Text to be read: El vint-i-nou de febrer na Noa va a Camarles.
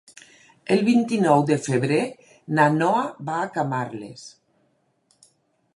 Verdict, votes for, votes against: accepted, 4, 0